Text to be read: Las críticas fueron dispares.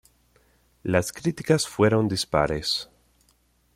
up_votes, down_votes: 2, 0